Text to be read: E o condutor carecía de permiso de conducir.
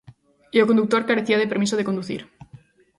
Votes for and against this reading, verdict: 2, 0, accepted